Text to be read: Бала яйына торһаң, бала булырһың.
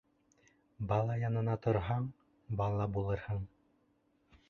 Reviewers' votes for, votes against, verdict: 1, 2, rejected